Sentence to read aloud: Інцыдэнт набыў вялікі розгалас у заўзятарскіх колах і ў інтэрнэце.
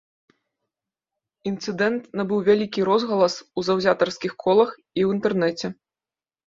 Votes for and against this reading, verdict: 2, 0, accepted